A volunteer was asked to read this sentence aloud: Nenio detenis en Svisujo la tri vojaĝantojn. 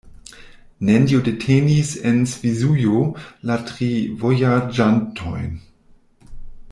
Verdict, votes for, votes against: rejected, 1, 2